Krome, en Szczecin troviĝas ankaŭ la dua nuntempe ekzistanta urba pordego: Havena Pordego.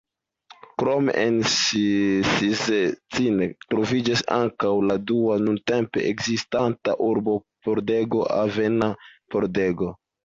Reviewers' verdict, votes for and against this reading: rejected, 1, 2